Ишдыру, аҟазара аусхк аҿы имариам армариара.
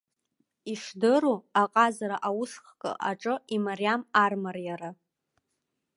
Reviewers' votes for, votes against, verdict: 2, 0, accepted